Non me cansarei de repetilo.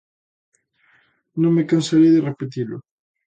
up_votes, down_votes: 2, 0